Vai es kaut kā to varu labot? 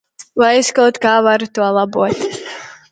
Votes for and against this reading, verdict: 0, 2, rejected